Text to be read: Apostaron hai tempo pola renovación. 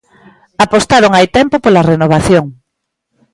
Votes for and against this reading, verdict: 2, 0, accepted